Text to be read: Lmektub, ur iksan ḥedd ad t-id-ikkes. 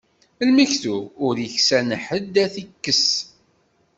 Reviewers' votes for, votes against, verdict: 1, 2, rejected